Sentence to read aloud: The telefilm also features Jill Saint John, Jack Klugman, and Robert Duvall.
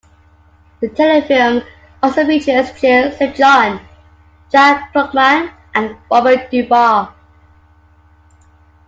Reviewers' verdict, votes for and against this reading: accepted, 2, 0